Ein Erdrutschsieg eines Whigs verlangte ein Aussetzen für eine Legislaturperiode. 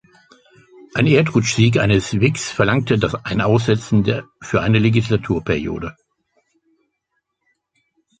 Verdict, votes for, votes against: rejected, 0, 2